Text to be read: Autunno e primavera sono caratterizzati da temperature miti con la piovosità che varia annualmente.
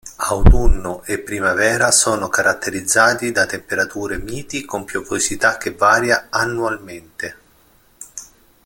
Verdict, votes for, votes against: rejected, 1, 2